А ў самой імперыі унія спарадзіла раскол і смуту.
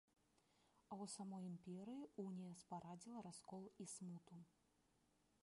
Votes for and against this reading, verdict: 2, 3, rejected